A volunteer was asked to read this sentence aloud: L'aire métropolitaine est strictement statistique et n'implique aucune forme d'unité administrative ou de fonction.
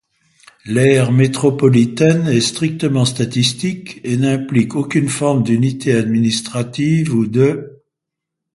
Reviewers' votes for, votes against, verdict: 1, 2, rejected